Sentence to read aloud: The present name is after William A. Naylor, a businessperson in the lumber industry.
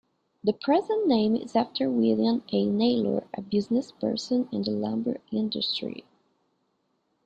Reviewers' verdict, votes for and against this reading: accepted, 2, 0